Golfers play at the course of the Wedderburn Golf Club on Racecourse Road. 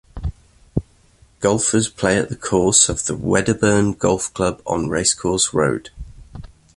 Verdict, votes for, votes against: accepted, 2, 0